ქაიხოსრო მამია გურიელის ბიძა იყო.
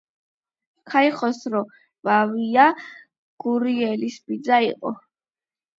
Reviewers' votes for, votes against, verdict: 8, 0, accepted